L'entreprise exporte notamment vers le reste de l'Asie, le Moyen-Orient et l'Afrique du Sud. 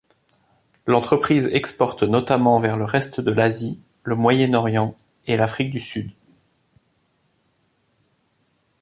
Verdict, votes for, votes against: accepted, 2, 0